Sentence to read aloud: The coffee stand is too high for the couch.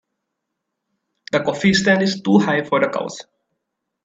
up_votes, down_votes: 0, 2